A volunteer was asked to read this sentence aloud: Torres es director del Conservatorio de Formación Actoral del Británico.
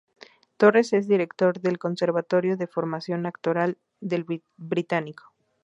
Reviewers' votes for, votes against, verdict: 0, 2, rejected